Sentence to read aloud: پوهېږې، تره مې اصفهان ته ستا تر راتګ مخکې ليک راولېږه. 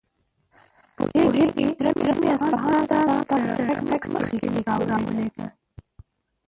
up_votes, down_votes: 0, 2